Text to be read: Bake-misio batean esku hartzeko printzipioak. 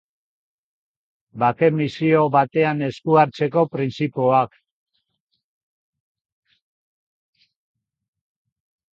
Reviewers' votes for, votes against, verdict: 0, 2, rejected